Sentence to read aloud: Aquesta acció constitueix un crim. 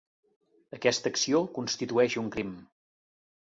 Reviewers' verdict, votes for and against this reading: accepted, 5, 0